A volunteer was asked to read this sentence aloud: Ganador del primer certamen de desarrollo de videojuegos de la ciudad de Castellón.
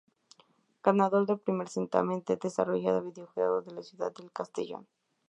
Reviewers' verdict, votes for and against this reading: rejected, 0, 2